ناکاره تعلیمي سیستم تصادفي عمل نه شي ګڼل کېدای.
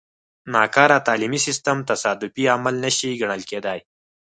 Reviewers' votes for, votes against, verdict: 4, 0, accepted